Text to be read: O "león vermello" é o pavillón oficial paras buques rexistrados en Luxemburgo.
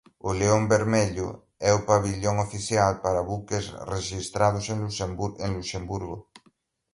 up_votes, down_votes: 0, 2